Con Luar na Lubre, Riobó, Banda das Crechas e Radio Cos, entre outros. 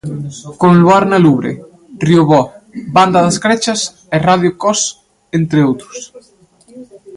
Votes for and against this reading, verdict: 1, 2, rejected